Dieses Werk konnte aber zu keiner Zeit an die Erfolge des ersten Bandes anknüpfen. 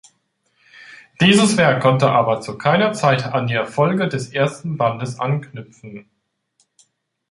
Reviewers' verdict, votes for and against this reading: accepted, 2, 0